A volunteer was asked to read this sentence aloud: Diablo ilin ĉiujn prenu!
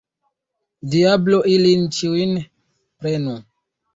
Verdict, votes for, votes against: accepted, 2, 0